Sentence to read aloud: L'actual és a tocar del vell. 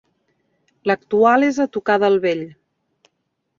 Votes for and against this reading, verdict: 1, 2, rejected